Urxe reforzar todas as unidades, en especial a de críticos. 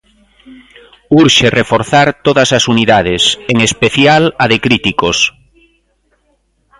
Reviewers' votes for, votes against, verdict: 2, 0, accepted